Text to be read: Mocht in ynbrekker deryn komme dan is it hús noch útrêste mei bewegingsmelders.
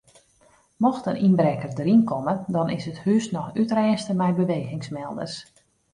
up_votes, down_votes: 2, 0